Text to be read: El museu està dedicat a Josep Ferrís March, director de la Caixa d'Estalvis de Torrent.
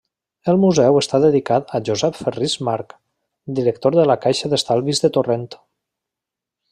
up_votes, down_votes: 2, 0